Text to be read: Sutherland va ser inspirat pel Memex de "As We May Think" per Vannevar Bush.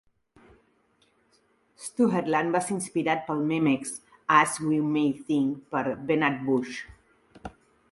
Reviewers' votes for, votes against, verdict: 0, 2, rejected